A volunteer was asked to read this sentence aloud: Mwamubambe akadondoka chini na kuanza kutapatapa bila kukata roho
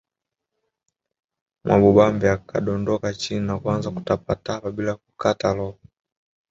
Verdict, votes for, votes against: accepted, 2, 0